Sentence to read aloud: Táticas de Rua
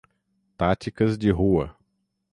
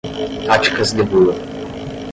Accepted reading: first